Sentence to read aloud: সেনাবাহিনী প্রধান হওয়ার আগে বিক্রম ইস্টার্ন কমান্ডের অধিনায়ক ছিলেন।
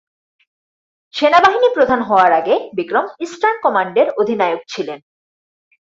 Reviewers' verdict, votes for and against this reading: accepted, 4, 0